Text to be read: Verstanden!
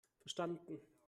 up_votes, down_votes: 1, 2